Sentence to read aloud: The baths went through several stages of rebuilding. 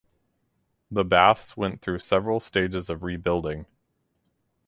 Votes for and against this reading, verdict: 4, 0, accepted